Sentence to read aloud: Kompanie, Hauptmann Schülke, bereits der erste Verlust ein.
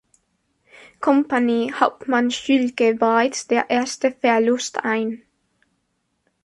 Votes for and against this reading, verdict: 2, 0, accepted